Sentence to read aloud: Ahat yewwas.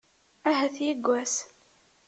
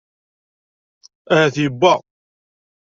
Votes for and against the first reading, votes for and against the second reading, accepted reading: 2, 0, 0, 2, first